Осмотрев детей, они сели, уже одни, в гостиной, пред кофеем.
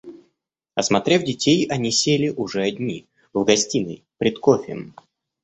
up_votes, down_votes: 2, 0